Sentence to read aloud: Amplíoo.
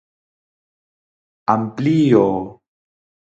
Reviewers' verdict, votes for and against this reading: accepted, 4, 0